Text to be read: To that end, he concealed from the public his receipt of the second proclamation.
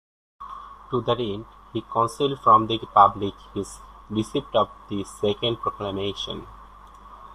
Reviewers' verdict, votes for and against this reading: rejected, 0, 2